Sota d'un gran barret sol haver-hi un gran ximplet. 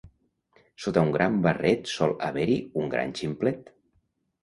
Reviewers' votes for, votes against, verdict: 0, 2, rejected